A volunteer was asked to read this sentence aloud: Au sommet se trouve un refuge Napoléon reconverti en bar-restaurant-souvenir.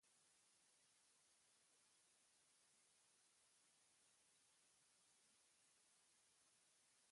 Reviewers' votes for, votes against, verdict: 0, 2, rejected